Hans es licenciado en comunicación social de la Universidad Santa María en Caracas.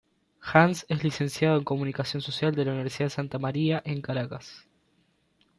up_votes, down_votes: 2, 0